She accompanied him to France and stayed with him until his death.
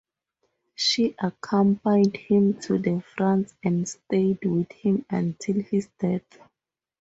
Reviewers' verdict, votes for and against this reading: rejected, 0, 2